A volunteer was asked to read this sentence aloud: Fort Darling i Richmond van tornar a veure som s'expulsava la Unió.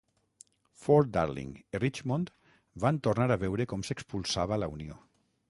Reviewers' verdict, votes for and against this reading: rejected, 0, 6